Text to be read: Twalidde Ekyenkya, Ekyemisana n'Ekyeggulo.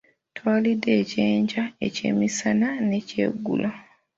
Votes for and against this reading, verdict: 2, 0, accepted